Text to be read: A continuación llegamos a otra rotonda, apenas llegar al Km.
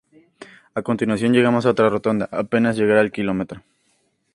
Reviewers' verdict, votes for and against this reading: accepted, 6, 0